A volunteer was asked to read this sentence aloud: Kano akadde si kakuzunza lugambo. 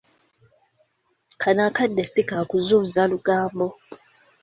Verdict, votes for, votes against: accepted, 2, 0